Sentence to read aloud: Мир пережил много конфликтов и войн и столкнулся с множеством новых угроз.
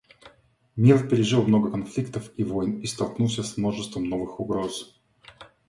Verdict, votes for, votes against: accepted, 2, 0